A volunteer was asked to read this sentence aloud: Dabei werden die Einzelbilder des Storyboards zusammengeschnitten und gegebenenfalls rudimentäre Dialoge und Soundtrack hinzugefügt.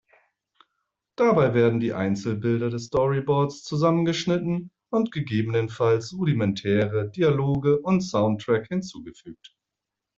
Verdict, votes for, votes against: accepted, 2, 0